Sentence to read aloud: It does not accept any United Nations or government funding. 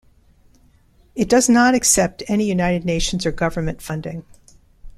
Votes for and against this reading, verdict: 2, 0, accepted